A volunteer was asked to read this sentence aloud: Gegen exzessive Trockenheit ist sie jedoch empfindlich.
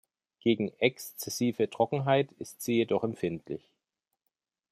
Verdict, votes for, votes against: accepted, 2, 0